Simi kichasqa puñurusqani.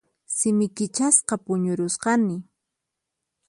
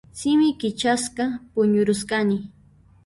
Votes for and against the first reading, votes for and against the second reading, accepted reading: 4, 0, 1, 2, first